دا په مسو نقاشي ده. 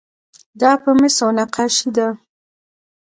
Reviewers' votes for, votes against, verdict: 1, 2, rejected